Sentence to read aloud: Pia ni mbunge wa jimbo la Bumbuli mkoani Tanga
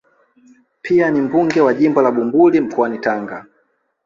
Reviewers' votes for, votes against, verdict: 1, 2, rejected